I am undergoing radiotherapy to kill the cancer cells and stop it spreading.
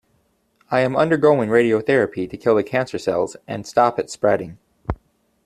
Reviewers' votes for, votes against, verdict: 2, 0, accepted